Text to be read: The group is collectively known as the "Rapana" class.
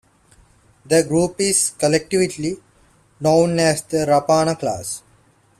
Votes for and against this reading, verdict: 2, 1, accepted